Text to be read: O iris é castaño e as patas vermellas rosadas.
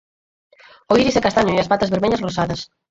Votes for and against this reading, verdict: 0, 4, rejected